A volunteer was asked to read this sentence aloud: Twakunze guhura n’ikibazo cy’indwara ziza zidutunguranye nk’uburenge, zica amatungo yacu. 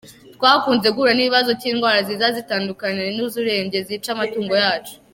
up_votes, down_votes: 0, 2